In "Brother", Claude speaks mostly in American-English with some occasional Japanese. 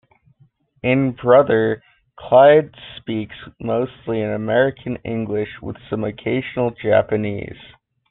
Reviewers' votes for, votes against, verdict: 2, 0, accepted